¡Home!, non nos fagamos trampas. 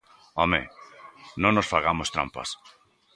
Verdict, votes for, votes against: accepted, 2, 0